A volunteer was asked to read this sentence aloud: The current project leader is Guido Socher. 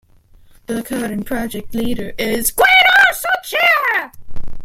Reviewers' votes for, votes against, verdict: 1, 2, rejected